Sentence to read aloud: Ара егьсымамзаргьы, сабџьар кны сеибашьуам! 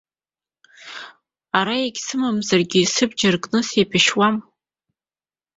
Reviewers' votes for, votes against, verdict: 4, 1, accepted